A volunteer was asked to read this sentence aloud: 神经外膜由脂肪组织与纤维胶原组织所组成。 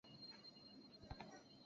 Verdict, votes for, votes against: rejected, 0, 3